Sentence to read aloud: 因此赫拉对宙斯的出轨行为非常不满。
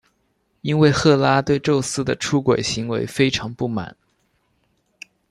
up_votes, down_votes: 0, 2